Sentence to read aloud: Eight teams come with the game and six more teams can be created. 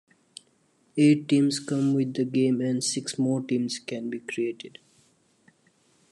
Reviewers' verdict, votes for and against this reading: accepted, 2, 1